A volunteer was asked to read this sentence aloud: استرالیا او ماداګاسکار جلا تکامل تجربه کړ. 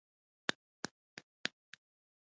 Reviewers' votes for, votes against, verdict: 2, 1, accepted